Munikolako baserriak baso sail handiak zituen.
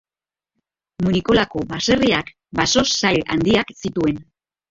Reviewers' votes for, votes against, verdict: 0, 3, rejected